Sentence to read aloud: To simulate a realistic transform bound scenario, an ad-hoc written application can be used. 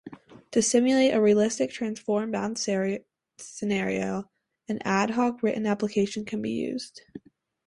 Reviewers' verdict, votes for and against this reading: rejected, 0, 2